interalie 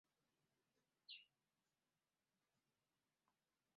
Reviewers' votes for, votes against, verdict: 0, 2, rejected